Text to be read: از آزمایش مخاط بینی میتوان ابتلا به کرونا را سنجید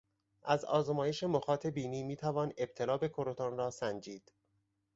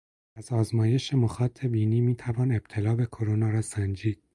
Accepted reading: second